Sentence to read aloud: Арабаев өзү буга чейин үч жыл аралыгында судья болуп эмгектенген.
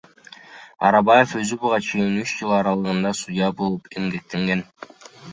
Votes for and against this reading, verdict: 2, 1, accepted